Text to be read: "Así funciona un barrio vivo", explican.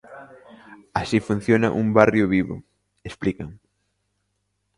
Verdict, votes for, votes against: rejected, 1, 2